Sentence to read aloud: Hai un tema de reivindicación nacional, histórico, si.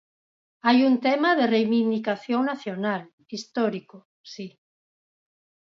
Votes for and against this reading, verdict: 4, 0, accepted